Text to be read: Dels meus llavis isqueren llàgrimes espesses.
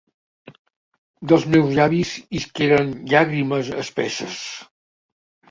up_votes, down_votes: 2, 1